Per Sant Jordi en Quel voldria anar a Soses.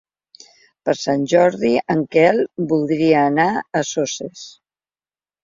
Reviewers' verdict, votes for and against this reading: accepted, 3, 0